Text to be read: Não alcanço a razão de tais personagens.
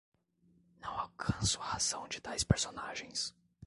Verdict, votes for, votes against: rejected, 0, 2